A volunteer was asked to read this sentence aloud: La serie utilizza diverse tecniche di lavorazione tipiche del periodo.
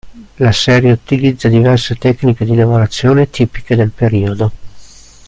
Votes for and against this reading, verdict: 2, 0, accepted